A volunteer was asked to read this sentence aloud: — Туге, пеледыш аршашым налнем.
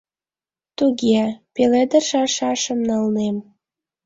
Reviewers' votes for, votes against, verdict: 2, 0, accepted